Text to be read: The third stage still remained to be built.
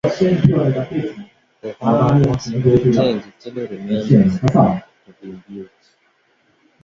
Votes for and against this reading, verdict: 0, 3, rejected